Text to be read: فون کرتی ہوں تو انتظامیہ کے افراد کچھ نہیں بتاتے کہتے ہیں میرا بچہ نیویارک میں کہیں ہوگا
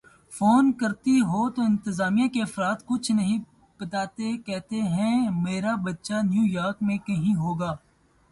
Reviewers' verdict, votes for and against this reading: accepted, 2, 0